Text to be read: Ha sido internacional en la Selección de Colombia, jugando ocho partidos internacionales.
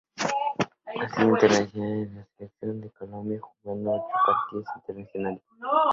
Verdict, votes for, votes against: rejected, 0, 2